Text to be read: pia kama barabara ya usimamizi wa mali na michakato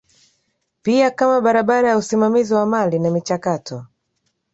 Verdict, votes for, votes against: accepted, 2, 0